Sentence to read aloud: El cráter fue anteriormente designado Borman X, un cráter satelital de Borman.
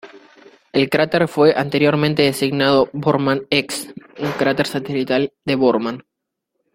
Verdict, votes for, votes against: rejected, 0, 2